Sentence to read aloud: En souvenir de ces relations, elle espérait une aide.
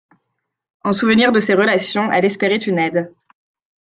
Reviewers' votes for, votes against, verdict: 2, 0, accepted